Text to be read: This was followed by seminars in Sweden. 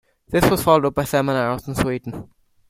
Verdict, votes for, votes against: rejected, 1, 2